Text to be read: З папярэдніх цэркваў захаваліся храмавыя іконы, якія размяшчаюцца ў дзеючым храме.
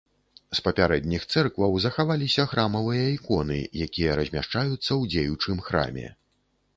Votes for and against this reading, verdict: 2, 0, accepted